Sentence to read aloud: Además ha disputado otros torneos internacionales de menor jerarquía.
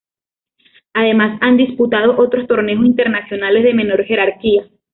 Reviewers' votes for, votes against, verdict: 1, 2, rejected